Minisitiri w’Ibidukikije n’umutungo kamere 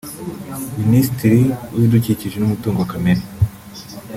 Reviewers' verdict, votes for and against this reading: rejected, 1, 2